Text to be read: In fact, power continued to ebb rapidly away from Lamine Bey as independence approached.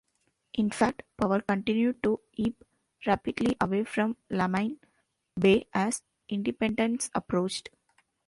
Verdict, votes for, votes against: rejected, 0, 2